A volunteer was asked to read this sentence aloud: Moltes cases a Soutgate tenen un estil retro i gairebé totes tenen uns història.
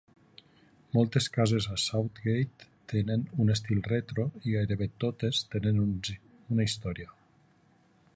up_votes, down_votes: 1, 3